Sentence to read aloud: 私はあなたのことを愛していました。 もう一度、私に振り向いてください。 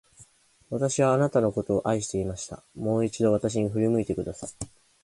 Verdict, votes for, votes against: rejected, 1, 2